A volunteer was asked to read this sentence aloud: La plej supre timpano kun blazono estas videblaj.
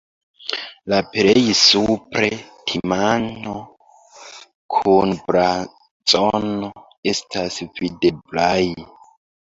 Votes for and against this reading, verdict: 0, 2, rejected